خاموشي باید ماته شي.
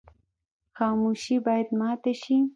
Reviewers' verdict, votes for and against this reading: accepted, 2, 0